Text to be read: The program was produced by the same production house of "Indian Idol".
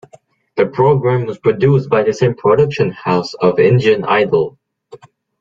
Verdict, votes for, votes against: accepted, 2, 0